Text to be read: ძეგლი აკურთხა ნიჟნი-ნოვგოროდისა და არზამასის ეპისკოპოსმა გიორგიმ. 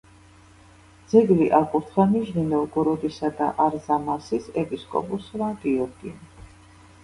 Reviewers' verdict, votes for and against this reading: rejected, 1, 2